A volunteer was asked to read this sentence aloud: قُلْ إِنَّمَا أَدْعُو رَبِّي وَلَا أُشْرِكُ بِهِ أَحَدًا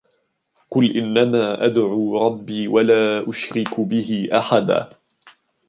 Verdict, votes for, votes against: accepted, 2, 0